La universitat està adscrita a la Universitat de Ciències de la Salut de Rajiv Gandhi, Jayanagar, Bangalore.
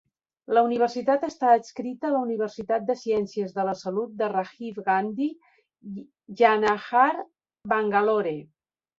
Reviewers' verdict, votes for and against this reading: rejected, 1, 2